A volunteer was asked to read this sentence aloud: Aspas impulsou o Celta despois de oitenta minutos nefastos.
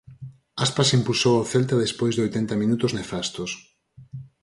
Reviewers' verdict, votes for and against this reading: accepted, 4, 0